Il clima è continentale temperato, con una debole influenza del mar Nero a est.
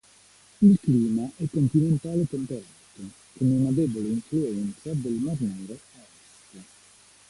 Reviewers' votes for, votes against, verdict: 0, 2, rejected